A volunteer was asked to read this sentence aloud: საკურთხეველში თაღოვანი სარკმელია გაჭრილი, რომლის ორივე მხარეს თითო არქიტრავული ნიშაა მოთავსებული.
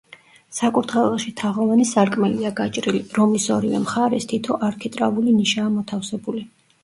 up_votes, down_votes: 1, 2